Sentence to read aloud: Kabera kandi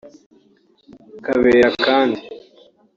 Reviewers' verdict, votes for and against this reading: accepted, 3, 0